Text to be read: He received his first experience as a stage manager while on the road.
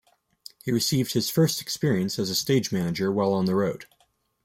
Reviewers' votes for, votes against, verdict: 0, 2, rejected